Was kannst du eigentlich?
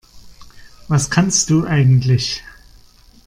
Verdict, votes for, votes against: accepted, 2, 0